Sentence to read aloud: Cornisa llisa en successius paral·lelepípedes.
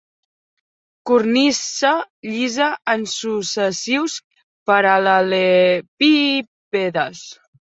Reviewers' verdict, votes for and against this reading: rejected, 1, 3